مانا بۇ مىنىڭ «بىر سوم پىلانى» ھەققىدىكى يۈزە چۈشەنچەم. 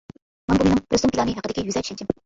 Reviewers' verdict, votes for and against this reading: rejected, 0, 2